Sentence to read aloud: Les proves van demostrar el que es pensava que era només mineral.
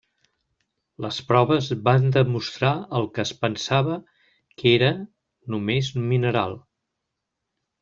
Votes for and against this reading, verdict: 3, 0, accepted